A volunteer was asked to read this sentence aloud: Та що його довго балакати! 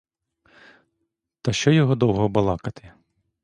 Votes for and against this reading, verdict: 2, 0, accepted